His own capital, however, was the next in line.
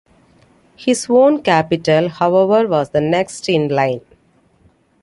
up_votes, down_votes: 2, 0